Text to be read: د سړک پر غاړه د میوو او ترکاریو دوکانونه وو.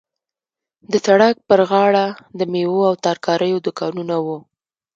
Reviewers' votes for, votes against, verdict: 2, 1, accepted